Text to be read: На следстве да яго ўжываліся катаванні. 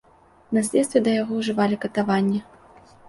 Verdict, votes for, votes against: rejected, 1, 2